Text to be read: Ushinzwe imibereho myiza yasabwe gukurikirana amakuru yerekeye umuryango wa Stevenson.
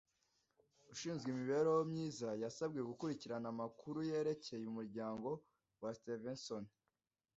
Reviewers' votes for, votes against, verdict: 2, 0, accepted